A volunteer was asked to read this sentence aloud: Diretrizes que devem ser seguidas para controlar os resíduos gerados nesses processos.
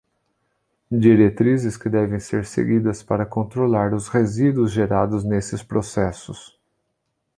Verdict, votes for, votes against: accepted, 2, 0